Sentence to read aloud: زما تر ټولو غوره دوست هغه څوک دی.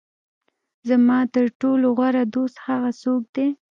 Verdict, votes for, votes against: accepted, 2, 1